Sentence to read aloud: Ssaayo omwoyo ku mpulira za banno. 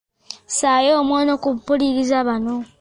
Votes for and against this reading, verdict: 1, 2, rejected